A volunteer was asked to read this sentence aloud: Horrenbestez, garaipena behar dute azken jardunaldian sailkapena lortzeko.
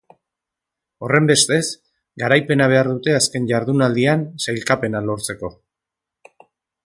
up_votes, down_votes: 3, 0